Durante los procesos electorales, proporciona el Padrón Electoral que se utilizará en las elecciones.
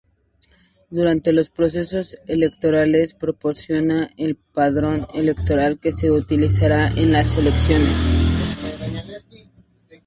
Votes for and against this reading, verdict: 2, 0, accepted